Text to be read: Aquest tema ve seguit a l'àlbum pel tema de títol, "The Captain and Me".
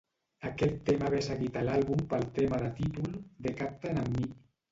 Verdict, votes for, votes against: rejected, 1, 2